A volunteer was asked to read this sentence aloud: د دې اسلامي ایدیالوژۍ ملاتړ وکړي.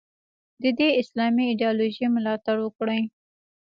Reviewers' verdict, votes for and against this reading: accepted, 2, 0